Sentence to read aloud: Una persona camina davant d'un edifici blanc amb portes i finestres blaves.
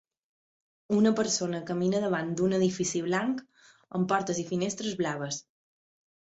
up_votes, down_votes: 3, 0